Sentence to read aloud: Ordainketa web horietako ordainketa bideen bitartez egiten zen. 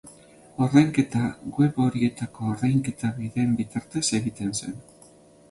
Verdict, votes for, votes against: accepted, 4, 0